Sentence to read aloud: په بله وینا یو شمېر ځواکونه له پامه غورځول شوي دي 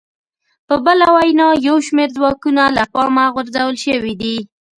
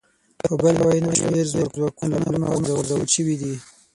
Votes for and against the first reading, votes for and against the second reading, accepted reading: 2, 0, 0, 6, first